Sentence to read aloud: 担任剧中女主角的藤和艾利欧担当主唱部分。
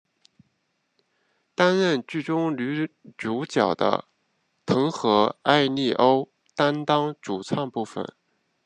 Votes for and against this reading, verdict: 2, 0, accepted